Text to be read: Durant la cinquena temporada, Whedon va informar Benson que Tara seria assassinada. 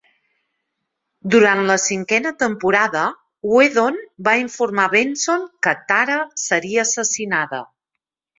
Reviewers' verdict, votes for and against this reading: accepted, 6, 0